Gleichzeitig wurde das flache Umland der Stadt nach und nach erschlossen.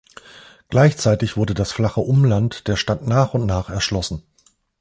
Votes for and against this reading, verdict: 2, 0, accepted